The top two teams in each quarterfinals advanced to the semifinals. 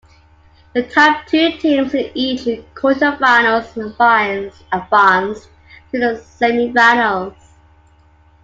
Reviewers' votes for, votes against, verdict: 2, 1, accepted